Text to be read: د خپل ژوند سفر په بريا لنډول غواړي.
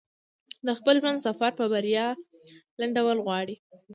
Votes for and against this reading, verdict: 2, 0, accepted